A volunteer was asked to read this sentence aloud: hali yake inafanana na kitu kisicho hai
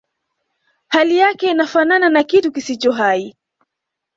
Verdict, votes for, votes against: accepted, 2, 0